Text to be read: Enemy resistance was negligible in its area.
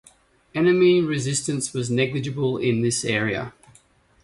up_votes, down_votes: 1, 2